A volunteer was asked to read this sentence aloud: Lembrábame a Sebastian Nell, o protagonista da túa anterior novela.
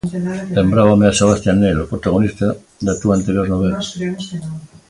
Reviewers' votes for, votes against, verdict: 2, 1, accepted